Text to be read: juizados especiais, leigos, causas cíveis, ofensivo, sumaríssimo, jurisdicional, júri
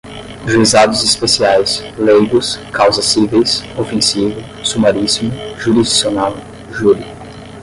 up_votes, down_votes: 5, 5